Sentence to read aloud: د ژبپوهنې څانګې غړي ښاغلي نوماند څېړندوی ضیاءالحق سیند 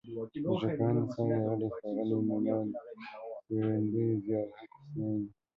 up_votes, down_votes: 1, 2